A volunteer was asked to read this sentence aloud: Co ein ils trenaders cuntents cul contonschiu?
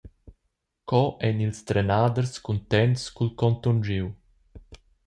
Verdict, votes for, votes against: accepted, 2, 0